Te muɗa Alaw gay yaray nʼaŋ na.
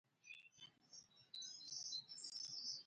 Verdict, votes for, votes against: rejected, 0, 2